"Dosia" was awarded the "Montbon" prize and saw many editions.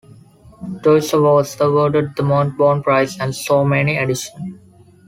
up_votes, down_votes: 1, 2